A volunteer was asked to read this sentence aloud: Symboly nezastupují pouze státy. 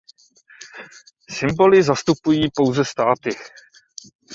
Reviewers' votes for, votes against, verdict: 0, 2, rejected